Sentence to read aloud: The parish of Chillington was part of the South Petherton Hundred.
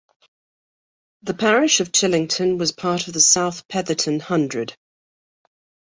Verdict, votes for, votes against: accepted, 2, 0